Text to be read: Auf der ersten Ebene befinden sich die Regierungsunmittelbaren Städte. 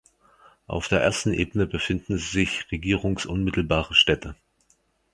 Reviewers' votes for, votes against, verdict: 0, 2, rejected